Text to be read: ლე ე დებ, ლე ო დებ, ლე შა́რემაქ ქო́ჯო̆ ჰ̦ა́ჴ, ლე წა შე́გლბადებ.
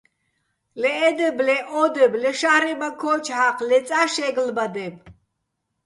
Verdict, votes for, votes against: accepted, 2, 0